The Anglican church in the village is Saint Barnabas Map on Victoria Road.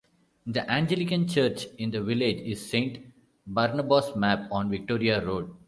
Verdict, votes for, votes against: rejected, 0, 2